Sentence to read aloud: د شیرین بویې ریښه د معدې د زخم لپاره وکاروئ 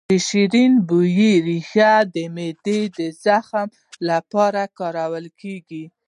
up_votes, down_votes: 0, 2